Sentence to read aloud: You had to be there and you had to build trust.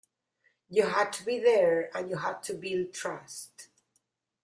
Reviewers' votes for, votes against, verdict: 2, 0, accepted